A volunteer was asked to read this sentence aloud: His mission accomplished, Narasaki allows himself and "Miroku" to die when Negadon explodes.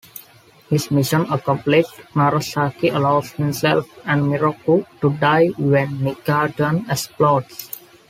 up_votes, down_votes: 2, 1